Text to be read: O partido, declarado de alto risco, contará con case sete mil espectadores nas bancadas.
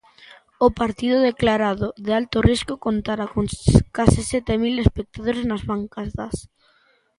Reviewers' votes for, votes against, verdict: 0, 2, rejected